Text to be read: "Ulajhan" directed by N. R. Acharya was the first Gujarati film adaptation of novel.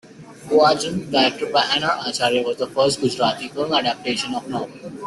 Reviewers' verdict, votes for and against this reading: rejected, 0, 2